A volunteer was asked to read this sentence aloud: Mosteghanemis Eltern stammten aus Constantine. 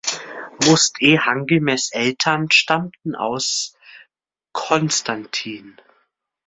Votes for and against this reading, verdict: 0, 2, rejected